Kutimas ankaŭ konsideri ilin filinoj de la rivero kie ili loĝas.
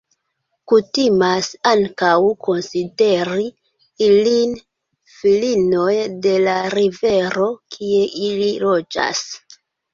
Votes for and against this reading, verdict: 2, 0, accepted